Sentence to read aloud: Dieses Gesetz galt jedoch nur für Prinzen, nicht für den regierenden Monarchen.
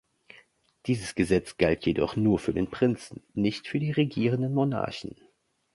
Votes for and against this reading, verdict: 1, 2, rejected